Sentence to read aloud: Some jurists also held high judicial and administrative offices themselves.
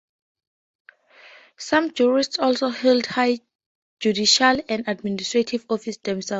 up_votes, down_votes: 2, 2